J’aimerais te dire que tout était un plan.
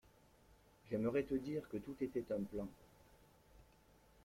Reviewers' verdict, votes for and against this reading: rejected, 0, 2